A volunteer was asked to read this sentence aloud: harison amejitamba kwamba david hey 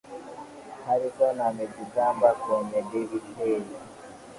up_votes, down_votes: 1, 3